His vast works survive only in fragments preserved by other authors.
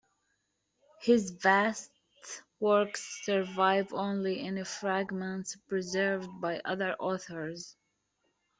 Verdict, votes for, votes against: rejected, 1, 2